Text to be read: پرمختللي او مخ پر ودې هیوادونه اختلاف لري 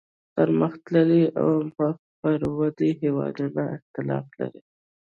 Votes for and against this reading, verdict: 0, 2, rejected